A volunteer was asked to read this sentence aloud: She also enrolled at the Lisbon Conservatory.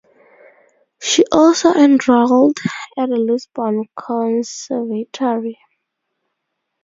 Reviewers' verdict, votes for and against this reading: accepted, 2, 0